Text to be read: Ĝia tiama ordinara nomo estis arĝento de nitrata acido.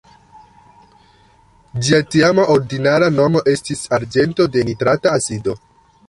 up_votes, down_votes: 2, 1